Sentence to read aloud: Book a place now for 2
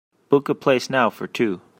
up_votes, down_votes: 0, 2